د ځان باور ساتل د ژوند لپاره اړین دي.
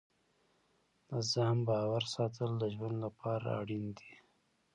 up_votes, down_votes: 2, 0